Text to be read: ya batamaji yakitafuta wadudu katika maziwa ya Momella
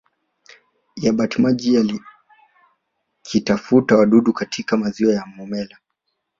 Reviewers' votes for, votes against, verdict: 2, 3, rejected